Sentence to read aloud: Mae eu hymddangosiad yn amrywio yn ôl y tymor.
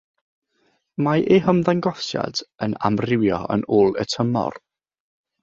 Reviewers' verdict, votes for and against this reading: accepted, 6, 0